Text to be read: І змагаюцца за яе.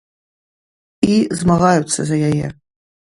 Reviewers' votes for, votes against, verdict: 2, 0, accepted